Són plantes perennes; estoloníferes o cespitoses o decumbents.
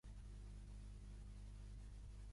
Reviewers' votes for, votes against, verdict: 0, 2, rejected